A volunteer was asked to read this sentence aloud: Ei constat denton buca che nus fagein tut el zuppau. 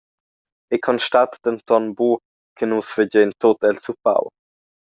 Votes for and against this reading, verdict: 2, 0, accepted